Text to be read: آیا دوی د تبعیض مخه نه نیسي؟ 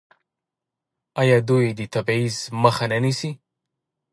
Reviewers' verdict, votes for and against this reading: rejected, 1, 2